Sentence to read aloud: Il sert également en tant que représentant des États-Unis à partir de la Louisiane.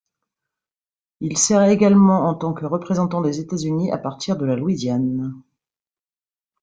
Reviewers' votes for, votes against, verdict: 3, 0, accepted